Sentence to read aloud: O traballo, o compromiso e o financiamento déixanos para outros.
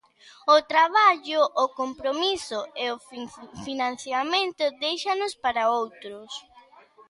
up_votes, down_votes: 0, 2